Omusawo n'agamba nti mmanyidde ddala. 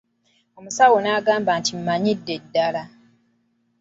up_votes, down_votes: 2, 0